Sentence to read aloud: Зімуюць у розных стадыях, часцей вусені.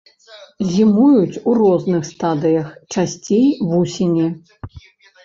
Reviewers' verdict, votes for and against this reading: accepted, 2, 0